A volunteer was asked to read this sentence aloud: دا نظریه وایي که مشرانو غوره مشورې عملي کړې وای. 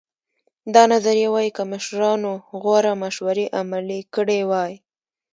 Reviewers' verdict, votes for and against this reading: rejected, 0, 2